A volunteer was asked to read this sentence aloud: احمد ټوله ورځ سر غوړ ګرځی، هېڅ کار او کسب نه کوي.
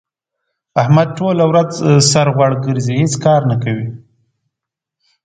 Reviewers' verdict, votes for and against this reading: rejected, 1, 2